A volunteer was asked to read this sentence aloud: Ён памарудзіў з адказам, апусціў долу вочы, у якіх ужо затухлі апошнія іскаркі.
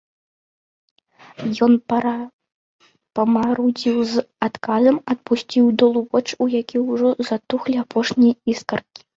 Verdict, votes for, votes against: rejected, 0, 2